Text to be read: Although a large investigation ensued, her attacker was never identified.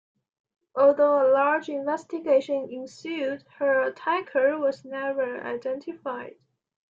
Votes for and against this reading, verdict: 2, 0, accepted